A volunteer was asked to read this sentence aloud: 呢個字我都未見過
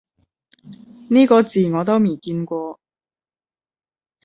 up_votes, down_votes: 5, 10